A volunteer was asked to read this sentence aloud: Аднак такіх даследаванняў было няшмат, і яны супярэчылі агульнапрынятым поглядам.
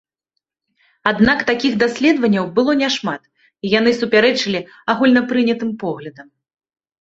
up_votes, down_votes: 1, 2